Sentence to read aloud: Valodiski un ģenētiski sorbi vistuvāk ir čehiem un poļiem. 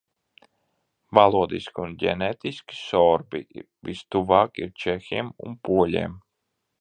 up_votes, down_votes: 1, 2